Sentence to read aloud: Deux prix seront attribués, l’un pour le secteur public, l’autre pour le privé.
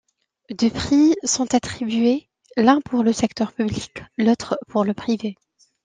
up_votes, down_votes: 0, 2